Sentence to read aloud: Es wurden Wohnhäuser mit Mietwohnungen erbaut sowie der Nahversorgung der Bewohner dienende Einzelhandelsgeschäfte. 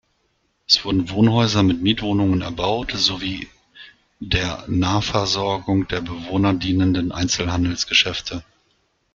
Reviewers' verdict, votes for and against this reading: rejected, 1, 2